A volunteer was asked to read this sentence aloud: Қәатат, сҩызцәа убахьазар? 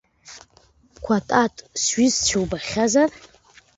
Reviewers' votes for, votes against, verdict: 2, 0, accepted